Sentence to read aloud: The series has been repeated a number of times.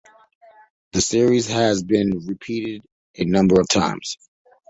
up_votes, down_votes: 2, 1